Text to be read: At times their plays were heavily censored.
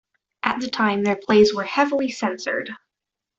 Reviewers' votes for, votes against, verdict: 1, 2, rejected